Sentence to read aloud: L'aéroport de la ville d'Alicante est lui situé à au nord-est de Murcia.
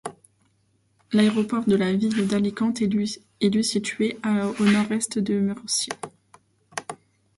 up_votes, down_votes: 1, 2